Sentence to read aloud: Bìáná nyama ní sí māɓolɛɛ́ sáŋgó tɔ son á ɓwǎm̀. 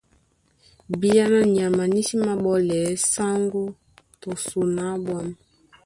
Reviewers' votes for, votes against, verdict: 1, 2, rejected